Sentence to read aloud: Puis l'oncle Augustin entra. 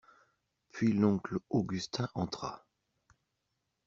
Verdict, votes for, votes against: accepted, 2, 0